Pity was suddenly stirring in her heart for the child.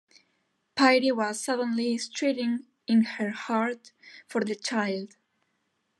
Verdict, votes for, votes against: rejected, 0, 2